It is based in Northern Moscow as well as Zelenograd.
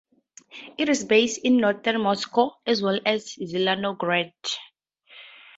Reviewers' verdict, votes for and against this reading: accepted, 2, 0